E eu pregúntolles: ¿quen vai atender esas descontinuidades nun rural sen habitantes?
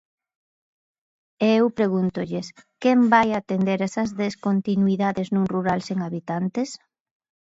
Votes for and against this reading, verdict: 2, 0, accepted